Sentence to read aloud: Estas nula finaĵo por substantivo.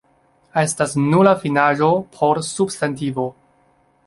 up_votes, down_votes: 2, 0